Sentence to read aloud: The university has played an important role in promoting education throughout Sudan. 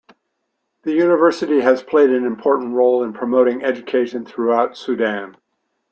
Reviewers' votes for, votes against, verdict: 2, 0, accepted